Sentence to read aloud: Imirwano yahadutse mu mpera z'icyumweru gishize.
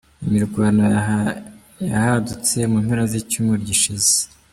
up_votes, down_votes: 1, 2